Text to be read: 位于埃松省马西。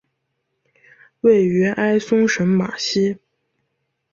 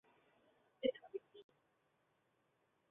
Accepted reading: first